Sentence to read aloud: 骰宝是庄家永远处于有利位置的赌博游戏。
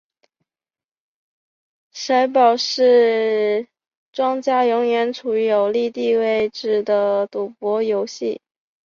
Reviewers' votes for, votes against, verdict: 1, 4, rejected